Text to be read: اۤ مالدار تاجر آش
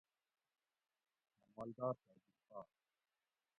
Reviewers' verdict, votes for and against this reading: rejected, 0, 2